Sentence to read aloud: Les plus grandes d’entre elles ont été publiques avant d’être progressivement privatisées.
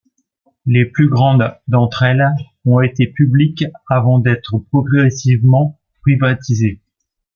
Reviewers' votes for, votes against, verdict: 2, 0, accepted